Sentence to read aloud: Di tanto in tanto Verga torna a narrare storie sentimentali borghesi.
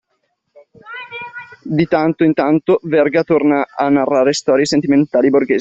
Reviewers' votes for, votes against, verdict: 2, 0, accepted